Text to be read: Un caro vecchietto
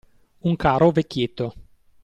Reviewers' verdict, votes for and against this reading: accepted, 2, 0